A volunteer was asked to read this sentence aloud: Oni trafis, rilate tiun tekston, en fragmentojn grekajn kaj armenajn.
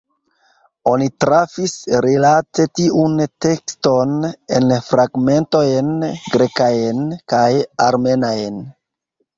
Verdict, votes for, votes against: accepted, 2, 1